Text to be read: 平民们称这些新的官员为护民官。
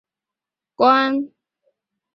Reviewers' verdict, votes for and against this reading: rejected, 2, 3